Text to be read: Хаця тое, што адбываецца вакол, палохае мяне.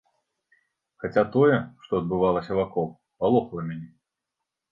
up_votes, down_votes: 1, 3